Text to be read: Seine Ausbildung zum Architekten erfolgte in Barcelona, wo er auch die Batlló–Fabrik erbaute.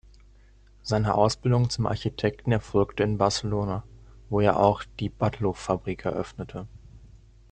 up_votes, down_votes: 1, 2